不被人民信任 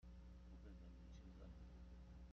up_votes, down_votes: 0, 2